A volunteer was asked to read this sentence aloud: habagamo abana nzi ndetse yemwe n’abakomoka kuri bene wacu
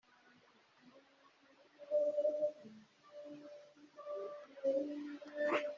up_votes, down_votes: 1, 3